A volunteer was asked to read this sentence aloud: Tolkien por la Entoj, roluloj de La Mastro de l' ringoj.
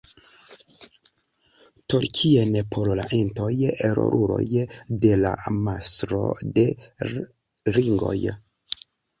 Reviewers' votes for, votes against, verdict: 2, 0, accepted